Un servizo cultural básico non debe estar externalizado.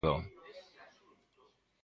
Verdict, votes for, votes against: rejected, 0, 2